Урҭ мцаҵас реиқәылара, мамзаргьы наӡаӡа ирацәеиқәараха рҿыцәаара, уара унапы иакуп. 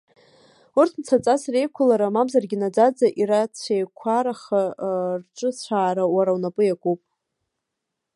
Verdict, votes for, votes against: rejected, 0, 2